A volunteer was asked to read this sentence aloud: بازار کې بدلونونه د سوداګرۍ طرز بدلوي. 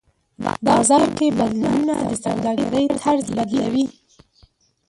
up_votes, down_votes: 0, 2